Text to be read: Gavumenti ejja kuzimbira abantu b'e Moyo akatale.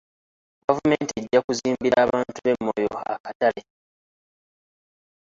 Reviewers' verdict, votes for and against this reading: rejected, 1, 2